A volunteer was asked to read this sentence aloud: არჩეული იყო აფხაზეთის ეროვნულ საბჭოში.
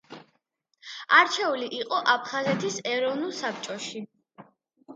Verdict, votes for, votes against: accepted, 2, 0